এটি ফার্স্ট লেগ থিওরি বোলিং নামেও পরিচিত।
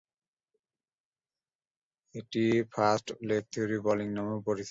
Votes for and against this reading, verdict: 0, 2, rejected